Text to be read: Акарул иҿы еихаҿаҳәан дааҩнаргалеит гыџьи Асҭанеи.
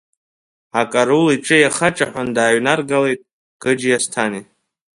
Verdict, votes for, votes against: rejected, 1, 2